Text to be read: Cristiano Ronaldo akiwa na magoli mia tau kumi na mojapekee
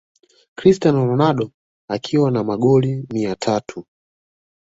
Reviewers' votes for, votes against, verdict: 1, 2, rejected